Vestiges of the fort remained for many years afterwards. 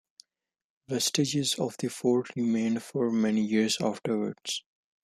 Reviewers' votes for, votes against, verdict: 1, 2, rejected